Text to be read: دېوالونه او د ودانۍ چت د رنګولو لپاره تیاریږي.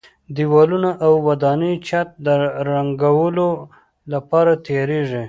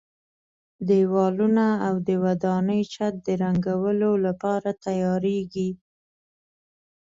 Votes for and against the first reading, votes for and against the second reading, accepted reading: 0, 2, 2, 0, second